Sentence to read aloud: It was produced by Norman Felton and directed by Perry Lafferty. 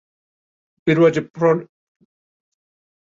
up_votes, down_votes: 0, 2